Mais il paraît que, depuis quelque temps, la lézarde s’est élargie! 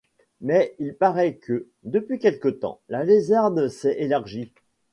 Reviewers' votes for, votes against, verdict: 2, 0, accepted